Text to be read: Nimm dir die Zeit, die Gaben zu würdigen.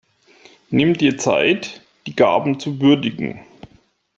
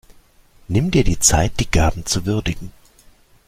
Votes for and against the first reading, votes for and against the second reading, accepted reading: 1, 2, 2, 0, second